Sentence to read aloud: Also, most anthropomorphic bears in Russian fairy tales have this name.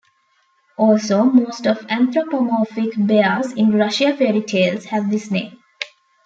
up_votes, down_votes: 1, 2